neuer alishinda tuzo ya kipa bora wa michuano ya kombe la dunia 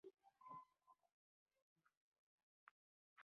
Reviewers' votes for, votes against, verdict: 0, 2, rejected